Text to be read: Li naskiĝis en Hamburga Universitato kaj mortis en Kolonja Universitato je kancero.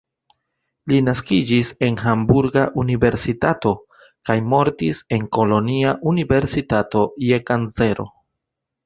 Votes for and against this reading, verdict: 1, 2, rejected